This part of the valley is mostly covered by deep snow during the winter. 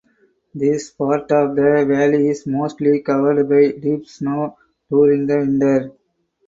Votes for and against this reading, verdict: 0, 4, rejected